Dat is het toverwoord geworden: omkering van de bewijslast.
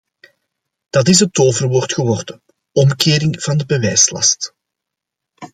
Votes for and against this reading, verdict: 2, 0, accepted